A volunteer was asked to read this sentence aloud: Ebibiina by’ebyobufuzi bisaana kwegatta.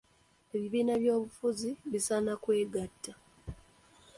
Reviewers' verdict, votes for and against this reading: accepted, 2, 1